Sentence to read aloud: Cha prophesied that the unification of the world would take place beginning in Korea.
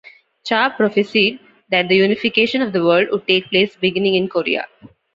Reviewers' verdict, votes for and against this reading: accepted, 2, 0